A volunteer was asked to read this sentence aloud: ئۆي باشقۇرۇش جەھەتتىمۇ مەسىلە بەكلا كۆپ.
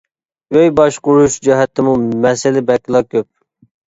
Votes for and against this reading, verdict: 2, 0, accepted